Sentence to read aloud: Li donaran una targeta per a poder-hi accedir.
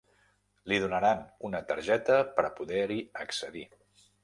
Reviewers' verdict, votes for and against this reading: accepted, 3, 0